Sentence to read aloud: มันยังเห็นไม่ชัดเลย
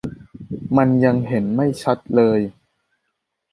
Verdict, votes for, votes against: accepted, 2, 0